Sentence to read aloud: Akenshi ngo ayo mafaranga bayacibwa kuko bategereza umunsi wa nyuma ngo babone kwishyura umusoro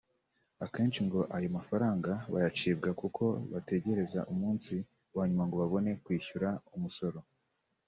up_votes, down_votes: 2, 0